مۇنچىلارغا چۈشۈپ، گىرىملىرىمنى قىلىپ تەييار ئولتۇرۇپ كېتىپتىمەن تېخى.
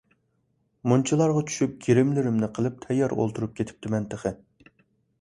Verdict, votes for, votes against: accepted, 2, 0